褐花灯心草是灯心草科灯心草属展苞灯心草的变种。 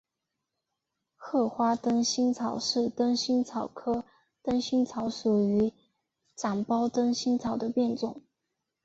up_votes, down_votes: 1, 2